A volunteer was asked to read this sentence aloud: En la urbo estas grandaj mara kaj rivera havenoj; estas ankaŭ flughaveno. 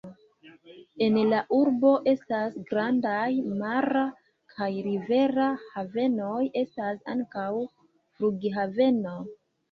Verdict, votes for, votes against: rejected, 0, 2